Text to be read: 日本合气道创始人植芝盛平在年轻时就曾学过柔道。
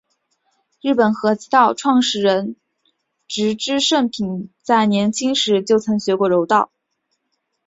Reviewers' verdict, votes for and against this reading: accepted, 3, 0